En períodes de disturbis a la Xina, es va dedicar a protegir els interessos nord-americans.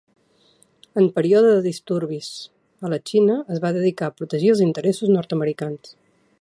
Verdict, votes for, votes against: rejected, 1, 2